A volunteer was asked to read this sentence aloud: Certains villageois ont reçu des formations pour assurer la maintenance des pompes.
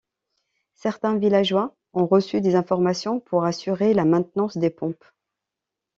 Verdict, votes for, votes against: rejected, 1, 2